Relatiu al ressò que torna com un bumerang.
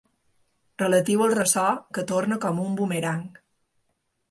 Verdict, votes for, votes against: accepted, 2, 0